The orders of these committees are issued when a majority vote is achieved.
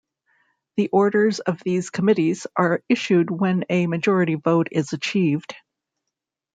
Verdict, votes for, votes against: accepted, 2, 0